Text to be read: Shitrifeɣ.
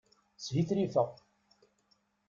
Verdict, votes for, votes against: accepted, 2, 0